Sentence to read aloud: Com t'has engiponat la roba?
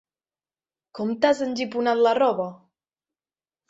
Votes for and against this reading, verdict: 3, 0, accepted